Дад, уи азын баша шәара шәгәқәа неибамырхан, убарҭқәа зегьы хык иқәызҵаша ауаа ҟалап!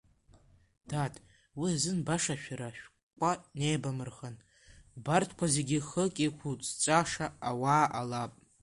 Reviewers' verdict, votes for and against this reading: rejected, 0, 2